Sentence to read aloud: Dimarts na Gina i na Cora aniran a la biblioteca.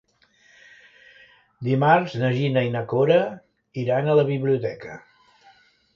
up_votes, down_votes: 0, 2